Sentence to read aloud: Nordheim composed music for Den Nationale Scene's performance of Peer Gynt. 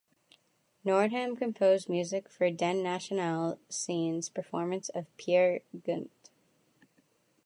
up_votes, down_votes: 1, 2